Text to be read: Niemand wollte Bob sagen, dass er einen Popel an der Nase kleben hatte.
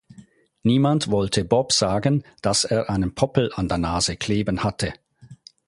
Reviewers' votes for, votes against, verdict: 2, 4, rejected